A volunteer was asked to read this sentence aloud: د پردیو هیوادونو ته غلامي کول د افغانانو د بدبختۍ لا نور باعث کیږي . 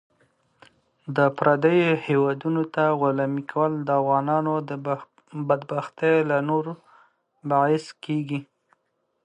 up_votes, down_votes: 0, 2